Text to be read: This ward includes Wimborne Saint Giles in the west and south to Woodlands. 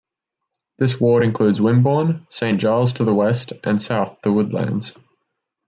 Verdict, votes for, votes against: rejected, 1, 2